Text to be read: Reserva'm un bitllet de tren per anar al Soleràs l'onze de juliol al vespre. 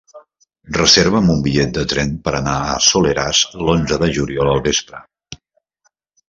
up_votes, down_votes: 0, 2